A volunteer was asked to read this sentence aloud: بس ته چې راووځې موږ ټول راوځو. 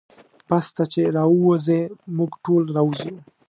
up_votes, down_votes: 2, 0